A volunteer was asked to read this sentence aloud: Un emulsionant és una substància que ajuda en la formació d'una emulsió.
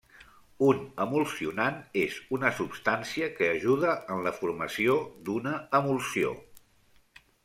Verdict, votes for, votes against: accepted, 3, 1